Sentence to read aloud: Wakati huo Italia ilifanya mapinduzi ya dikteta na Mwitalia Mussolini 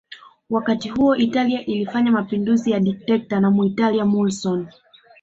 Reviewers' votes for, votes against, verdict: 1, 2, rejected